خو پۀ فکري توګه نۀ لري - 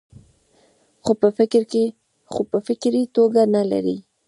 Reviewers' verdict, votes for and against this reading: rejected, 0, 2